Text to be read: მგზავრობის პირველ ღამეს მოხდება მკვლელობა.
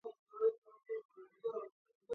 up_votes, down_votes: 2, 0